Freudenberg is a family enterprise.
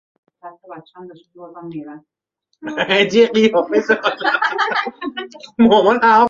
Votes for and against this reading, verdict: 1, 2, rejected